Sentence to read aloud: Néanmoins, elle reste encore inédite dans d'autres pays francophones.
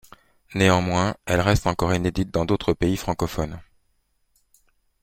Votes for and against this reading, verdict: 2, 0, accepted